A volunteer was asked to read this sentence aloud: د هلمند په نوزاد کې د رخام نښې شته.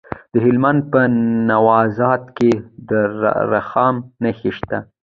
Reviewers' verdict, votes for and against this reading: rejected, 1, 2